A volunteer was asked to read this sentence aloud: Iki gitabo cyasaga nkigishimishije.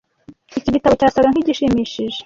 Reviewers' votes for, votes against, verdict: 2, 0, accepted